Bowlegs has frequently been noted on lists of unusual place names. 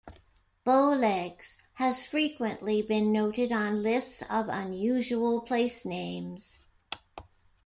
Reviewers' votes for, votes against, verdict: 2, 1, accepted